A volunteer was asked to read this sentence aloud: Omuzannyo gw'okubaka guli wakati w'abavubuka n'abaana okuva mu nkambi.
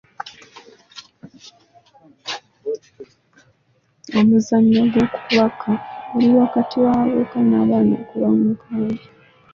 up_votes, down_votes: 0, 2